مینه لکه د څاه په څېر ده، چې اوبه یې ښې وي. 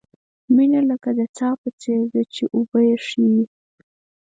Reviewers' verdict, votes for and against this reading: rejected, 0, 4